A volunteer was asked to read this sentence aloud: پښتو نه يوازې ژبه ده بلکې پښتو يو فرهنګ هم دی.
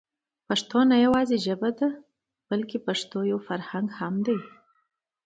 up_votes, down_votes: 2, 1